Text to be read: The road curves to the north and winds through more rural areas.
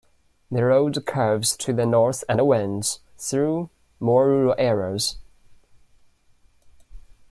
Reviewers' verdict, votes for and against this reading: rejected, 0, 2